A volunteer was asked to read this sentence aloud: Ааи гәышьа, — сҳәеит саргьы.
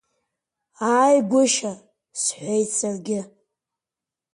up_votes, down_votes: 6, 0